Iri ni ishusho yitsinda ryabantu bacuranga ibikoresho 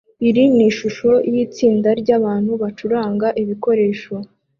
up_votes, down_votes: 2, 0